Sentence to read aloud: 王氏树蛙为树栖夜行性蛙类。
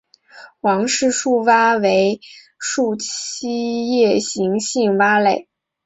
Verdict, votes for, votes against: accepted, 4, 1